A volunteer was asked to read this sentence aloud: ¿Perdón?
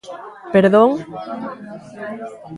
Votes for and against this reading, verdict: 1, 2, rejected